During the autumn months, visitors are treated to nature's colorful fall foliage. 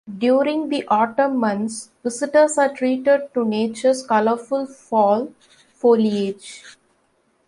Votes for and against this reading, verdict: 2, 0, accepted